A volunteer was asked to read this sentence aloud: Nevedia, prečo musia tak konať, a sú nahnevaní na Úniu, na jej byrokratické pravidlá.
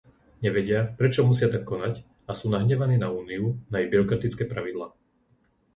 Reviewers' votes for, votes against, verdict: 2, 0, accepted